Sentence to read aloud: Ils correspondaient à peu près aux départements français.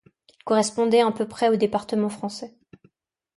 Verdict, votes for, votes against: rejected, 1, 2